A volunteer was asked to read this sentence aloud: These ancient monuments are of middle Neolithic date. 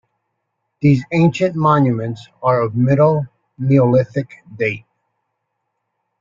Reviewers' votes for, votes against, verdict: 2, 0, accepted